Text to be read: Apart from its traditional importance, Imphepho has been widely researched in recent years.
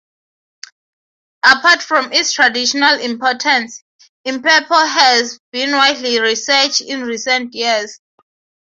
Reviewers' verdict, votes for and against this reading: rejected, 3, 3